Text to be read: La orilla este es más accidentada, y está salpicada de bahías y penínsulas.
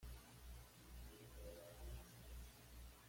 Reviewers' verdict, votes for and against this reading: rejected, 1, 2